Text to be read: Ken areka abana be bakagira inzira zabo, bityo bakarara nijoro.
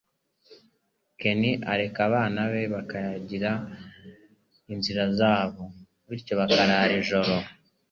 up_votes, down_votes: 3, 0